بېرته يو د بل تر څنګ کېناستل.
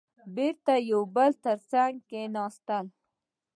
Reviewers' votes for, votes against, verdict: 2, 0, accepted